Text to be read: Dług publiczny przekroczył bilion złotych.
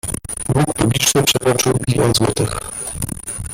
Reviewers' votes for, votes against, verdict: 1, 2, rejected